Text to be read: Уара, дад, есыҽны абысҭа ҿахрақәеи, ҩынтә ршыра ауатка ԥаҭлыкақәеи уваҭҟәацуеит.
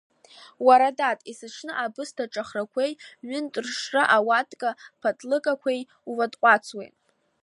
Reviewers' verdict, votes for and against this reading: rejected, 1, 2